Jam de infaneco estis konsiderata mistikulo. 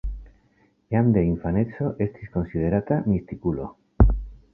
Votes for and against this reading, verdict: 2, 0, accepted